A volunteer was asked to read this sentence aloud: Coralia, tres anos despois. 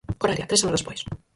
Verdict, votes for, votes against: rejected, 0, 4